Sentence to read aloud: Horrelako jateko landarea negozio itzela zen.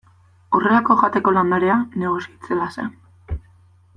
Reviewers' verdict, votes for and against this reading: rejected, 1, 2